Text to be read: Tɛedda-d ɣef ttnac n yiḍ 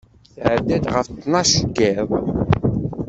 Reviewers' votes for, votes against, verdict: 1, 2, rejected